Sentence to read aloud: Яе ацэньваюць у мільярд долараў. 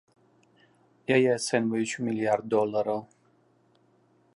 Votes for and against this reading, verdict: 2, 0, accepted